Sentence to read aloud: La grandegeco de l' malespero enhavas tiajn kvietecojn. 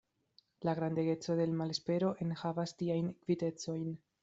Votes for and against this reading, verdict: 0, 2, rejected